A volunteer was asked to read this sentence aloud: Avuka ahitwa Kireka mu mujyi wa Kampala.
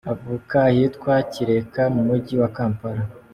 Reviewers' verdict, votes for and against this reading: accepted, 2, 0